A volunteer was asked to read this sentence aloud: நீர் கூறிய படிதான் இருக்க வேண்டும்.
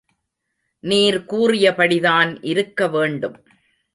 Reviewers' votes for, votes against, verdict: 2, 0, accepted